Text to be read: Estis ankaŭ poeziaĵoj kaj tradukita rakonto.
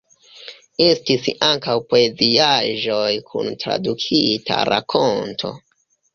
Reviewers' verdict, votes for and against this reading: rejected, 0, 2